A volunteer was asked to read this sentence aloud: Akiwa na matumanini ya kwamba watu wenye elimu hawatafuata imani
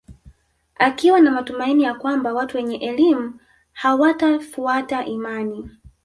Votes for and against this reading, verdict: 1, 3, rejected